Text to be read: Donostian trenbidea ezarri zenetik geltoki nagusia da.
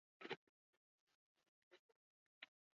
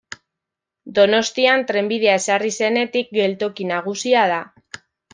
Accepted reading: second